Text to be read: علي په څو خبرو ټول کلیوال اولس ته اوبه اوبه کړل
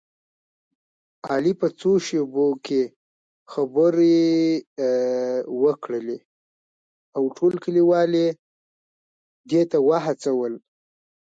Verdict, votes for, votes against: rejected, 1, 2